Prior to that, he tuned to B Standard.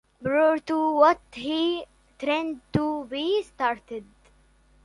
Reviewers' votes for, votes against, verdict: 1, 2, rejected